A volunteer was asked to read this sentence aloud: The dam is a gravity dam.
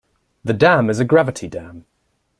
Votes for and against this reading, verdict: 2, 0, accepted